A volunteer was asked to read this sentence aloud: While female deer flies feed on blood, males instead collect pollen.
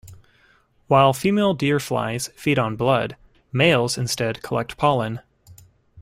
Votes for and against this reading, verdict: 2, 0, accepted